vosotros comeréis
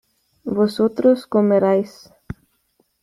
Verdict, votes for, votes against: accepted, 3, 2